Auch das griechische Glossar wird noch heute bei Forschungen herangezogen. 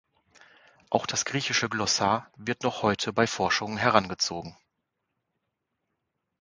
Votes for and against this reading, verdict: 2, 0, accepted